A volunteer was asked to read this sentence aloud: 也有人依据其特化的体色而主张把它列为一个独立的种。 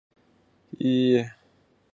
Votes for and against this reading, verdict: 3, 7, rejected